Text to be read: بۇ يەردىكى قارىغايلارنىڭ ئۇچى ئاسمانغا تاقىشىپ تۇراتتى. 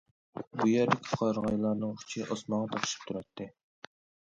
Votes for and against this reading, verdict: 2, 0, accepted